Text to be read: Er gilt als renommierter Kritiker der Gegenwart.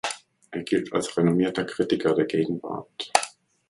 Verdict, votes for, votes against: accepted, 2, 0